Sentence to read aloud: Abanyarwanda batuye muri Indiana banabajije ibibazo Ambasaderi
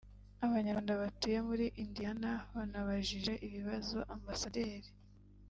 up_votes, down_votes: 0, 2